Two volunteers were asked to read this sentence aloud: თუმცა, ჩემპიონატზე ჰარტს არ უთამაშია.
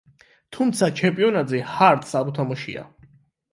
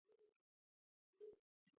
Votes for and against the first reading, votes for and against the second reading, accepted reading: 8, 0, 0, 2, first